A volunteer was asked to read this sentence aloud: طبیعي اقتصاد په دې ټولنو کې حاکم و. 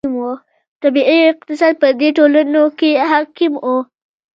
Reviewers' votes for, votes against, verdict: 1, 2, rejected